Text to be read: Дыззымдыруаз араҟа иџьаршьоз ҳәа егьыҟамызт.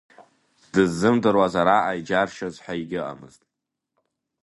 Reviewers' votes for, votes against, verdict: 2, 0, accepted